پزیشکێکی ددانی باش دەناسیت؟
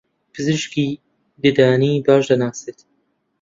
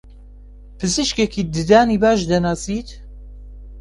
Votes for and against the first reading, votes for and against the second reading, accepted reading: 0, 2, 2, 0, second